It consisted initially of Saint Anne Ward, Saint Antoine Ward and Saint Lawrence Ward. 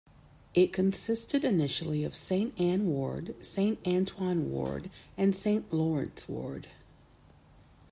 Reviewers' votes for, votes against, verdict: 2, 0, accepted